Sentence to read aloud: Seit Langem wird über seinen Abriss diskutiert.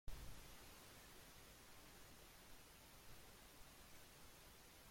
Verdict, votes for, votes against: rejected, 0, 2